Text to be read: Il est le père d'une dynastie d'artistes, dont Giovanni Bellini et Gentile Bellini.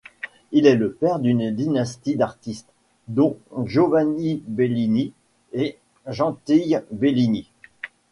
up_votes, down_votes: 1, 2